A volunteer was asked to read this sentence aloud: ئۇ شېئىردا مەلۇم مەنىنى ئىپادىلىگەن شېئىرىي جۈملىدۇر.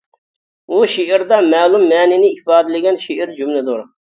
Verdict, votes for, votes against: rejected, 1, 2